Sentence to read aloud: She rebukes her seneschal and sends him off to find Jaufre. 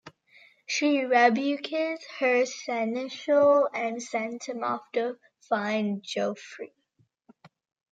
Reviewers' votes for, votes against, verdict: 0, 2, rejected